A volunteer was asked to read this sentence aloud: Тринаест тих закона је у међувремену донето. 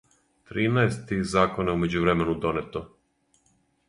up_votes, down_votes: 2, 4